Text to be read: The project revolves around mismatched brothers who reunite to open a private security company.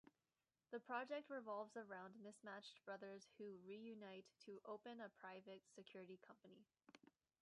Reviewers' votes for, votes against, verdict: 2, 1, accepted